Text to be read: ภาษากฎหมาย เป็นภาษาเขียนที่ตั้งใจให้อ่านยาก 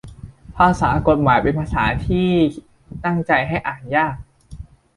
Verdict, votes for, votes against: rejected, 0, 2